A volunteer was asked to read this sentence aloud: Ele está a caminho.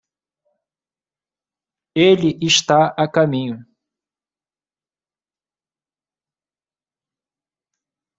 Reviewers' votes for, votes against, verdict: 1, 2, rejected